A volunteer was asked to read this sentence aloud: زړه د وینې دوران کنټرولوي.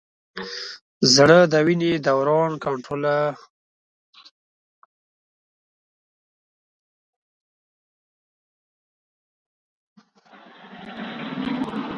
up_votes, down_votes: 1, 2